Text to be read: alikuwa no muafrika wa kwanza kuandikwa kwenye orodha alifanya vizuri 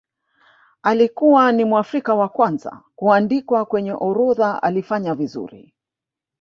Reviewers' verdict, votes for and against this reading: rejected, 1, 2